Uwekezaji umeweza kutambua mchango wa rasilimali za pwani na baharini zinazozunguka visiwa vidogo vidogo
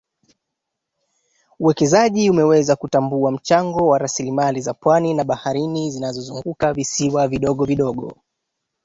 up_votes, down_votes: 1, 2